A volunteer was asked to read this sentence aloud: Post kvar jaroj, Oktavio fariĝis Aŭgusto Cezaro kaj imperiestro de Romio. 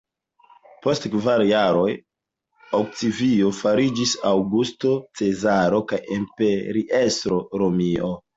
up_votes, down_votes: 0, 2